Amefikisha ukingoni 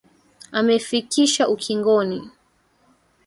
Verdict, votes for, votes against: rejected, 1, 2